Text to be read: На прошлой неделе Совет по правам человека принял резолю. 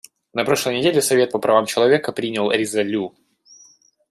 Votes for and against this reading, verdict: 2, 0, accepted